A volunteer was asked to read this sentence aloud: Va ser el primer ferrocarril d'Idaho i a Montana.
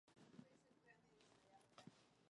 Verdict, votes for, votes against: rejected, 1, 2